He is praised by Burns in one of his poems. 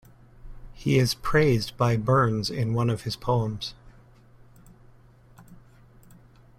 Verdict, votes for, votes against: accepted, 2, 0